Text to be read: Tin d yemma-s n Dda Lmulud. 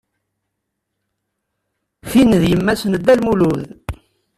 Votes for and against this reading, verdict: 2, 0, accepted